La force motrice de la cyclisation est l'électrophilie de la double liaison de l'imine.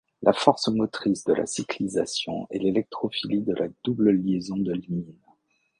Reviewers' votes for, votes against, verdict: 0, 2, rejected